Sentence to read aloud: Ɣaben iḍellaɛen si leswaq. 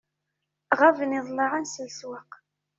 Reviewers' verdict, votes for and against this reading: accepted, 2, 0